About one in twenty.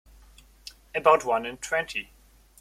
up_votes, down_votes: 2, 1